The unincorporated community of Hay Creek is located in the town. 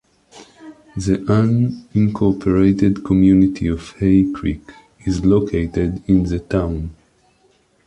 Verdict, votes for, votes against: accepted, 2, 0